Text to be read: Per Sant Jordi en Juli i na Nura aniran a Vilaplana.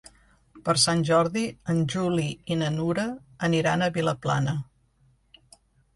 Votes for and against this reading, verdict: 2, 0, accepted